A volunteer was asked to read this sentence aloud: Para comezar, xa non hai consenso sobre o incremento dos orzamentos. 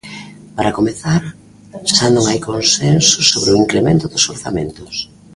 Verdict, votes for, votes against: rejected, 1, 2